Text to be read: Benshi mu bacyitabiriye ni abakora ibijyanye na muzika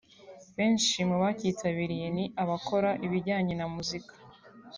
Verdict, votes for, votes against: accepted, 2, 0